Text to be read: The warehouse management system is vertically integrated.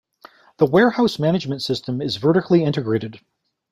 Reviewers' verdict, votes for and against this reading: accepted, 2, 0